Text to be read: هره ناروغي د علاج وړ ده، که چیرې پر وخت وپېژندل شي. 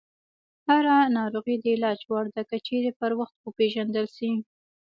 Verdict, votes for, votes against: rejected, 1, 2